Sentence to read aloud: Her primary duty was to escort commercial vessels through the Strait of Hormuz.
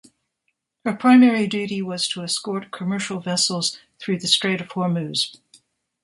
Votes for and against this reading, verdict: 2, 0, accepted